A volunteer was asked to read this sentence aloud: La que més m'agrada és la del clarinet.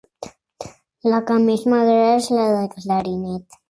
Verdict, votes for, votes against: accepted, 3, 0